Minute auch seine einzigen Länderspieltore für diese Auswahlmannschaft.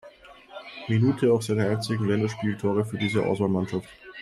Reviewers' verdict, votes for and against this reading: accepted, 2, 0